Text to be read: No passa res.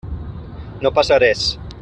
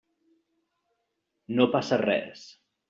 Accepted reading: second